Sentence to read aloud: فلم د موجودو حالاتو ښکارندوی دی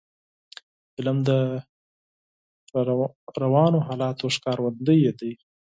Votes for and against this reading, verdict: 2, 4, rejected